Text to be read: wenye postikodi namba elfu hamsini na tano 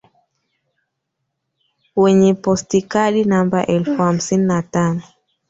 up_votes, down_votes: 0, 2